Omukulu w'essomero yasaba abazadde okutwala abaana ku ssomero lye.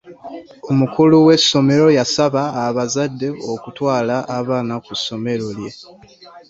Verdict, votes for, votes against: accepted, 2, 0